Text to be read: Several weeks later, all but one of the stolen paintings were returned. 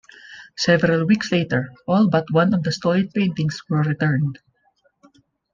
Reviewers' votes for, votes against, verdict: 2, 0, accepted